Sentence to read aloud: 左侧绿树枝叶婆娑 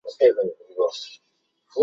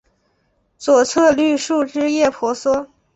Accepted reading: second